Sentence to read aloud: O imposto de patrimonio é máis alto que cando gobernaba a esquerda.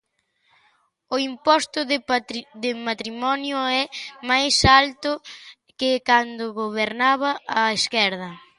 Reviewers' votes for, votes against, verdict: 0, 2, rejected